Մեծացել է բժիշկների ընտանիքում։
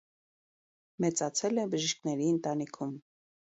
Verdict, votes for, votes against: accepted, 2, 0